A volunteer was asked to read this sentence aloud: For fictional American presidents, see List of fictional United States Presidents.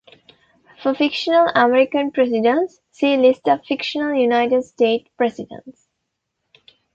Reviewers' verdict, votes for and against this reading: accepted, 2, 0